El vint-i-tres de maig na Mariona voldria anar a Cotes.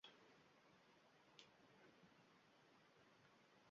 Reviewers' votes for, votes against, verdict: 0, 2, rejected